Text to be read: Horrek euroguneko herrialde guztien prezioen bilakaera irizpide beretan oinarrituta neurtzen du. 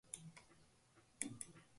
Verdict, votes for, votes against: rejected, 0, 2